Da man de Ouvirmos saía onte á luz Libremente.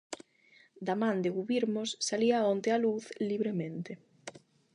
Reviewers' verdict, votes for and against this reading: rejected, 0, 8